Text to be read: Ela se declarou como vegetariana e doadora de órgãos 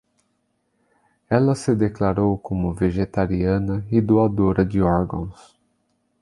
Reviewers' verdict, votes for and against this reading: accepted, 2, 0